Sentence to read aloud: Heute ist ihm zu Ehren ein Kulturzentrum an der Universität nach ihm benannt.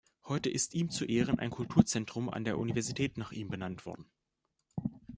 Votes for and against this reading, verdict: 0, 2, rejected